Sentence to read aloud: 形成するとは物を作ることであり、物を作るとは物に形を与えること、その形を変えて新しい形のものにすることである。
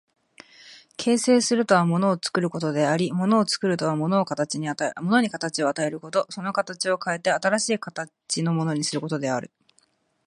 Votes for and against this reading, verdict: 0, 2, rejected